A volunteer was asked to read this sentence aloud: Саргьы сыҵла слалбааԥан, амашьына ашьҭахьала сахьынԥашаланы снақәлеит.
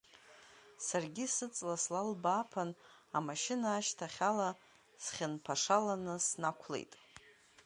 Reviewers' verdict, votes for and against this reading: rejected, 0, 2